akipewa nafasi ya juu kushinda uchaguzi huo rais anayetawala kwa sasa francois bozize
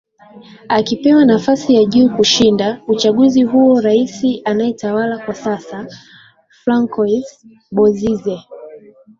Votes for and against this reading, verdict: 2, 0, accepted